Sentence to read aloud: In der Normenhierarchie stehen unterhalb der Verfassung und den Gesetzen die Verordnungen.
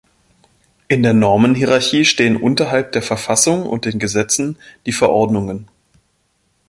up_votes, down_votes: 2, 0